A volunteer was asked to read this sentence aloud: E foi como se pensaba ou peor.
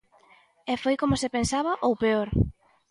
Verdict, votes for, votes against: accepted, 2, 0